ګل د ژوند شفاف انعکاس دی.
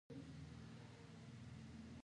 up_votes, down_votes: 0, 4